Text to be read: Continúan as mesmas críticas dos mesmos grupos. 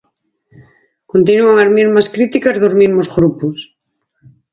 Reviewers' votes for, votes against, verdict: 0, 4, rejected